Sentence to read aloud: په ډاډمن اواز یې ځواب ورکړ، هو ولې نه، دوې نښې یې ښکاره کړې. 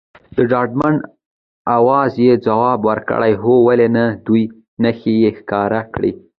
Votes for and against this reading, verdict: 2, 1, accepted